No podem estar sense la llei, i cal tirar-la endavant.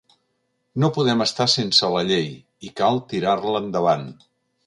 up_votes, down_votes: 2, 0